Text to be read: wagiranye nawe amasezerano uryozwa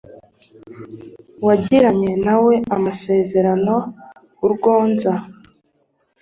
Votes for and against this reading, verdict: 2, 1, accepted